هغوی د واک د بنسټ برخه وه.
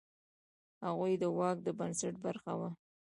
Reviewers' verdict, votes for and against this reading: rejected, 1, 2